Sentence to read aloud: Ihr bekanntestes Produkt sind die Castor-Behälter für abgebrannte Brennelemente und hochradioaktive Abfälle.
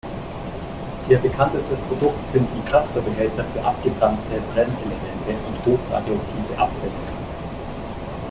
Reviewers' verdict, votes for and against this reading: rejected, 0, 2